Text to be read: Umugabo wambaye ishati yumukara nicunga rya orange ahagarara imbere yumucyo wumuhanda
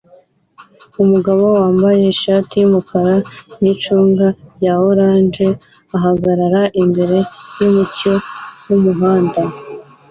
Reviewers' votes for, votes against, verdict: 2, 0, accepted